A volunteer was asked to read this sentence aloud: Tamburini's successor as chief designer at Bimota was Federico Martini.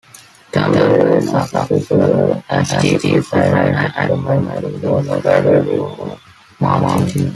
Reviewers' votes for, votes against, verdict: 0, 2, rejected